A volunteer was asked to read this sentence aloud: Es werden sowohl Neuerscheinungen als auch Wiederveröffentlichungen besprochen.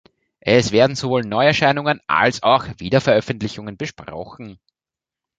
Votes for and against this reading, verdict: 0, 2, rejected